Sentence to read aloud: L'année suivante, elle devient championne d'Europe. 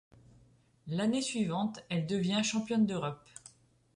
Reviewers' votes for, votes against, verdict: 2, 0, accepted